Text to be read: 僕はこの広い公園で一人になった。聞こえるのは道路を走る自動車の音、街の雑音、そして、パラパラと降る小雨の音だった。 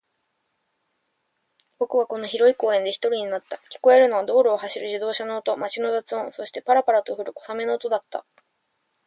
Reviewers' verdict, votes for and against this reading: accepted, 2, 0